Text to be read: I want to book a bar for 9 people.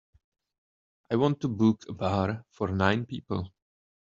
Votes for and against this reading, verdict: 0, 2, rejected